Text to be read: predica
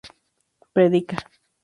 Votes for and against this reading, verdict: 2, 0, accepted